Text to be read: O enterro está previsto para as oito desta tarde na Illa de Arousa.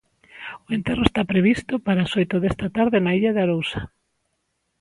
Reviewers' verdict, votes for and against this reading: accepted, 2, 0